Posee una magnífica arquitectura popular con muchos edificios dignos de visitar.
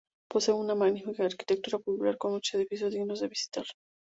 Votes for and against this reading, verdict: 0, 2, rejected